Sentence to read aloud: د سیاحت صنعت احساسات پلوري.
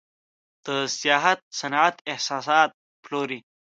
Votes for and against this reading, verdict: 2, 0, accepted